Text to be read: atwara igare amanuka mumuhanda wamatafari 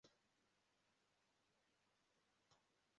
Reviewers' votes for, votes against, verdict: 0, 2, rejected